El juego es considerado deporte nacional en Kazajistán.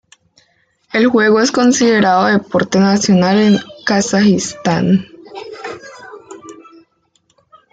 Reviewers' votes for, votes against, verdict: 2, 1, accepted